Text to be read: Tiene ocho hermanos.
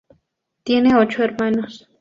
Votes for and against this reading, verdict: 0, 2, rejected